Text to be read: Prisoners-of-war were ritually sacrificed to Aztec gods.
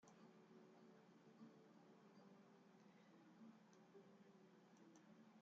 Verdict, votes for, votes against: rejected, 0, 2